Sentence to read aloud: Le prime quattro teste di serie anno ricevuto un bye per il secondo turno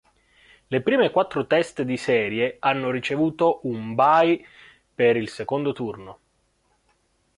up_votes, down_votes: 2, 0